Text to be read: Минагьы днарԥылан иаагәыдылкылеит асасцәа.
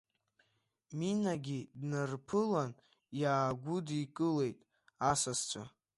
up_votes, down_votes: 0, 2